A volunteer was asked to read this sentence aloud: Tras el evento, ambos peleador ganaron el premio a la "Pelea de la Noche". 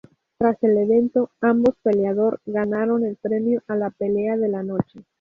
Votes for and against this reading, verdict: 0, 2, rejected